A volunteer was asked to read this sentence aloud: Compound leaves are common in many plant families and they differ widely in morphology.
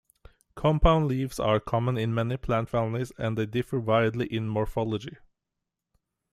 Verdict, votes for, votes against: accepted, 2, 0